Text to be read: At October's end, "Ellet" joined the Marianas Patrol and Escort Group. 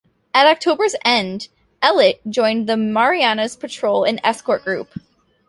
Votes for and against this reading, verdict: 2, 0, accepted